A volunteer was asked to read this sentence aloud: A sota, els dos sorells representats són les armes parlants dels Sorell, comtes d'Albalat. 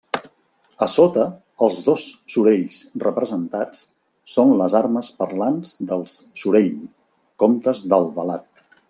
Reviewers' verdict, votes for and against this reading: accepted, 2, 0